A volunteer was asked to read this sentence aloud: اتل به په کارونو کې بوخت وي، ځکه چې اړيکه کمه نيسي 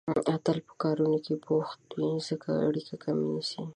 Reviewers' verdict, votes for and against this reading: rejected, 0, 2